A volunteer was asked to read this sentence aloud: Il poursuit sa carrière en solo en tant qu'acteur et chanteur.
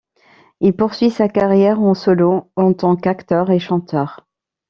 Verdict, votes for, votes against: accepted, 2, 0